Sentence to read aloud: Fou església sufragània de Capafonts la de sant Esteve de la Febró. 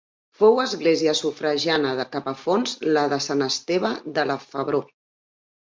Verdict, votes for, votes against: rejected, 0, 3